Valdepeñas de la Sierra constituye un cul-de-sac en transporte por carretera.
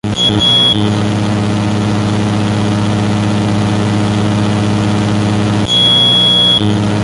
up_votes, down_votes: 0, 2